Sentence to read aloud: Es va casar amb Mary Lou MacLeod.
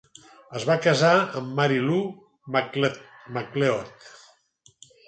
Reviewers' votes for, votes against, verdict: 0, 4, rejected